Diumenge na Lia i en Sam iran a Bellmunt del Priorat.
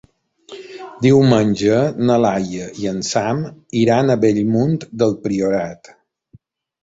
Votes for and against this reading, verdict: 1, 2, rejected